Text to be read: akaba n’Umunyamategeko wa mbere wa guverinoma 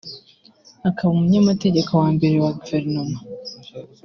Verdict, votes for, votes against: rejected, 1, 2